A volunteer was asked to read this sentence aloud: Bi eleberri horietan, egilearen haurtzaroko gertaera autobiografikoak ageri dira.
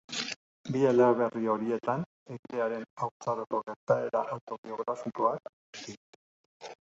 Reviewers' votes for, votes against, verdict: 1, 2, rejected